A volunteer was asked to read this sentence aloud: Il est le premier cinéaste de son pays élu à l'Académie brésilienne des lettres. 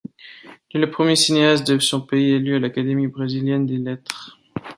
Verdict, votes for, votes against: rejected, 1, 2